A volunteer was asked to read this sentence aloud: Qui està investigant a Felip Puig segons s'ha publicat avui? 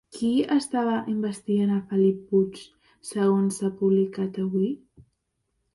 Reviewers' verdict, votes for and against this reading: accepted, 2, 0